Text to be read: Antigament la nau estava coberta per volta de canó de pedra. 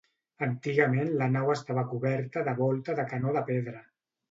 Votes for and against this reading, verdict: 0, 2, rejected